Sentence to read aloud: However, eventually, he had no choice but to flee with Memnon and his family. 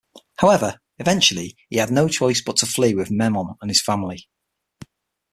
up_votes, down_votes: 6, 0